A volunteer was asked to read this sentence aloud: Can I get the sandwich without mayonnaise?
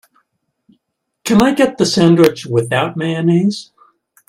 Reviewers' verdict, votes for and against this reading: accepted, 5, 1